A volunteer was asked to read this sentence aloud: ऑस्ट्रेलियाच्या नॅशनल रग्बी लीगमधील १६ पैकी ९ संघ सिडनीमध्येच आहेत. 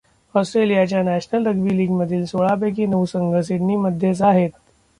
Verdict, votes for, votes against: rejected, 0, 2